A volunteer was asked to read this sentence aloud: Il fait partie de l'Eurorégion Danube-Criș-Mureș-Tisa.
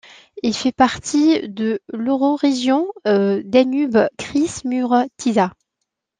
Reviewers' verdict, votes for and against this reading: accepted, 2, 1